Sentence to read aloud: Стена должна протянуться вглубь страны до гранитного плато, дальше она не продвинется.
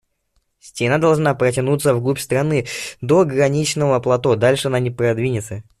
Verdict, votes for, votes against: rejected, 0, 2